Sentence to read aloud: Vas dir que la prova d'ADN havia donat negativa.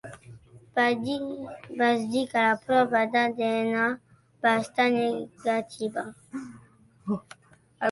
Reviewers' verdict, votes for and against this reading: rejected, 0, 2